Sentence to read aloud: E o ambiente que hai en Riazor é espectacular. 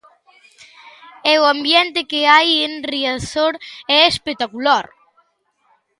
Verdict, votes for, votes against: accepted, 4, 0